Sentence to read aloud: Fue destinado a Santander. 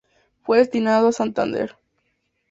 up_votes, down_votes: 4, 0